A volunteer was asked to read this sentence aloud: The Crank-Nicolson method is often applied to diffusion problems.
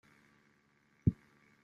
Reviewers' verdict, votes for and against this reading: rejected, 0, 2